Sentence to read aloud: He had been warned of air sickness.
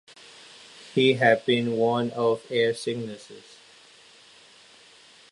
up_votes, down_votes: 0, 2